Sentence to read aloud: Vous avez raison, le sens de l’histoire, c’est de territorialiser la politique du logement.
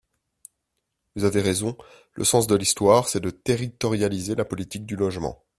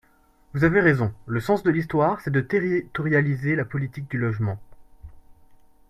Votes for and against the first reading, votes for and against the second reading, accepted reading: 2, 0, 1, 3, first